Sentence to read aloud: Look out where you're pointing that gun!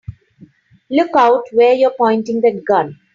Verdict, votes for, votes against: rejected, 2, 3